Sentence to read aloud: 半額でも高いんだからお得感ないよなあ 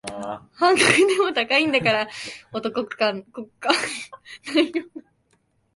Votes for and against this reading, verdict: 2, 4, rejected